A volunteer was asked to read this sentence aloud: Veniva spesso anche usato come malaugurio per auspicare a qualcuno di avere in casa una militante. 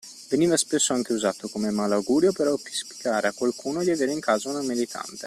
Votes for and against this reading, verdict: 0, 2, rejected